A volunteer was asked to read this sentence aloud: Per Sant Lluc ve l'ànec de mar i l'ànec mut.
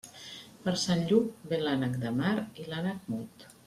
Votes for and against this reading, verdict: 2, 0, accepted